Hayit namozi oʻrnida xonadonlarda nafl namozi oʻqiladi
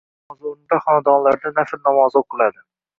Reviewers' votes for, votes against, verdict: 1, 2, rejected